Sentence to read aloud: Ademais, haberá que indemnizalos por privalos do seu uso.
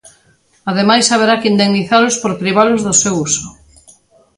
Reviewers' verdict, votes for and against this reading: accepted, 2, 0